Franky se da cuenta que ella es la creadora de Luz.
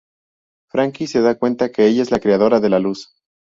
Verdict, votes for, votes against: rejected, 2, 2